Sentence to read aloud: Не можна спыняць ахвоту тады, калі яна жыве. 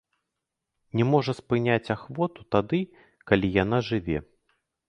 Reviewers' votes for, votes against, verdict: 0, 2, rejected